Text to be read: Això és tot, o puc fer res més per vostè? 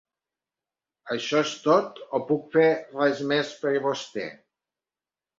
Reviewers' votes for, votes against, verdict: 1, 2, rejected